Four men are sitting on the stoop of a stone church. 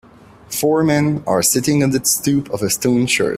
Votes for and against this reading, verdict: 1, 2, rejected